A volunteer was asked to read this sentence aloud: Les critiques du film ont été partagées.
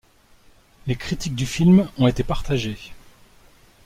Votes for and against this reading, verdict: 2, 0, accepted